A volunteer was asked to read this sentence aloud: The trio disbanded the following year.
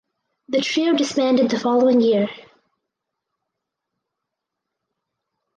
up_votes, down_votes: 4, 2